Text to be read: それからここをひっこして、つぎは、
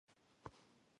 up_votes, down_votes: 0, 2